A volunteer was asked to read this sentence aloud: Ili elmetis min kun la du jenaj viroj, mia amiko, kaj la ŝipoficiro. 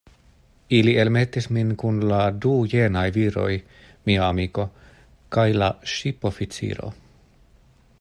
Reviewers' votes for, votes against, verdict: 2, 0, accepted